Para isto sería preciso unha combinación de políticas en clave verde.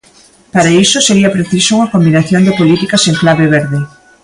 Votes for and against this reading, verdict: 1, 2, rejected